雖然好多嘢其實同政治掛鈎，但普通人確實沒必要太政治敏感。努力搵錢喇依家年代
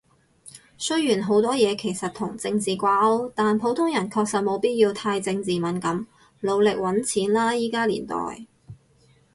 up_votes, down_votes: 4, 2